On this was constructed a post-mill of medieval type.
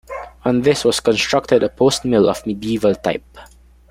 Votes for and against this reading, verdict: 2, 0, accepted